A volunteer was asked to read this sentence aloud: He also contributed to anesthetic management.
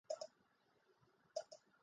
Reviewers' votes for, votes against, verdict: 0, 4, rejected